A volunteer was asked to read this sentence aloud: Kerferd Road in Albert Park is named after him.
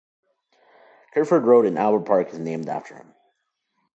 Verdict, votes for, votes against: accepted, 2, 1